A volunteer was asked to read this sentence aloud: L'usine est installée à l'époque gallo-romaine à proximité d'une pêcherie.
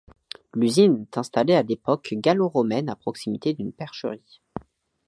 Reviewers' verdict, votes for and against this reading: rejected, 0, 2